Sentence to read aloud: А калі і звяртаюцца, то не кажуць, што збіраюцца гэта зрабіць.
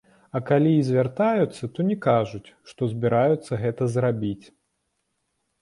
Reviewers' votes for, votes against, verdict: 2, 0, accepted